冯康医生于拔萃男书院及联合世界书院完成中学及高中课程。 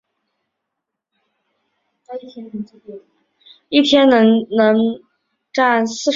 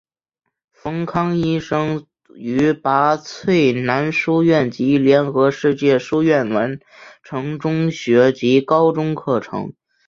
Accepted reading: second